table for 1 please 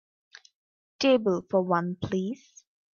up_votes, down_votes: 0, 2